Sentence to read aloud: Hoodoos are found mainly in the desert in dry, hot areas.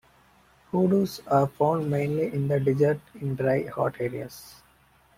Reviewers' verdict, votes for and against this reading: accepted, 2, 0